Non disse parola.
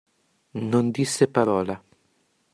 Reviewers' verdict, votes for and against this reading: accepted, 2, 0